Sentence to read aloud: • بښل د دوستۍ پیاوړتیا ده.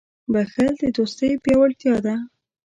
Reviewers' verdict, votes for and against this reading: rejected, 1, 2